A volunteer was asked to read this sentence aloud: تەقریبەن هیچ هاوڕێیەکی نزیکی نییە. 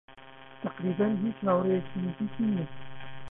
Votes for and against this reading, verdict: 0, 2, rejected